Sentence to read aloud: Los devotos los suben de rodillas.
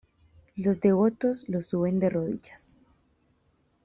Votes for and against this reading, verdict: 2, 0, accepted